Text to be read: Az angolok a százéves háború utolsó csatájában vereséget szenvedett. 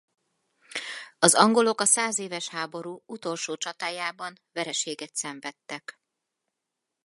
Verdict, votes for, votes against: rejected, 0, 4